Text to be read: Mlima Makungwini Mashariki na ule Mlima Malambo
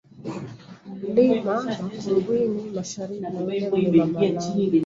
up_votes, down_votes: 0, 2